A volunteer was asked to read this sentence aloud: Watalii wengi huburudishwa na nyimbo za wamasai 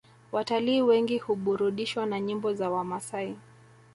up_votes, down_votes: 2, 0